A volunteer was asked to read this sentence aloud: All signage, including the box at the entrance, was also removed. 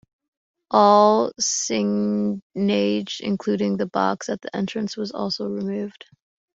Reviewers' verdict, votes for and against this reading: rejected, 1, 2